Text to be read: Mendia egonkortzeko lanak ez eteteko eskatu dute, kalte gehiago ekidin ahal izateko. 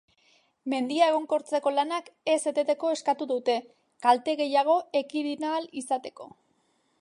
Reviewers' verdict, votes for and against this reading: accepted, 2, 0